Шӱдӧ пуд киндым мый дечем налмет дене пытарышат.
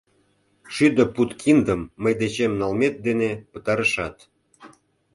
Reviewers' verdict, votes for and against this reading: accepted, 2, 0